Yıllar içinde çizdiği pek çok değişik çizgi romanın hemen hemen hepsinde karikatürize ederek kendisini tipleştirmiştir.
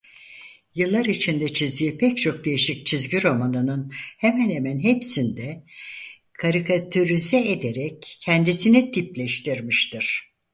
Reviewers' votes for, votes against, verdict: 0, 4, rejected